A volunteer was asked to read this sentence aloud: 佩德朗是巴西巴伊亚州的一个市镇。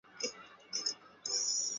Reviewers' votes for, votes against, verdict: 4, 6, rejected